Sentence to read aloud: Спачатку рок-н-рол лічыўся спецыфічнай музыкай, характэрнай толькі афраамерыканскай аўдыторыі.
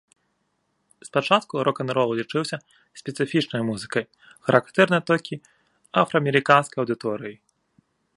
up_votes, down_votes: 3, 0